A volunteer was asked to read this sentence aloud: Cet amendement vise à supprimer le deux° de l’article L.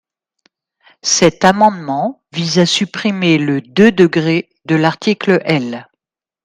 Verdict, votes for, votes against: rejected, 1, 2